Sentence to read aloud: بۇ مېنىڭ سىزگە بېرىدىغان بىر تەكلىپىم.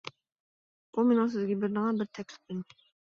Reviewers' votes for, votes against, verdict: 1, 2, rejected